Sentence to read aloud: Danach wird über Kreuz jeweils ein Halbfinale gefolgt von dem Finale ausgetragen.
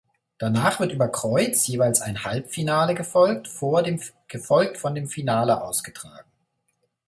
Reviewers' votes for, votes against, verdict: 0, 2, rejected